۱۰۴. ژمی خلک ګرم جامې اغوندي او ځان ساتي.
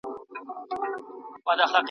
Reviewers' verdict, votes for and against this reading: rejected, 0, 2